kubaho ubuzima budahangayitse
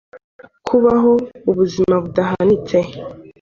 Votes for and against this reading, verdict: 0, 2, rejected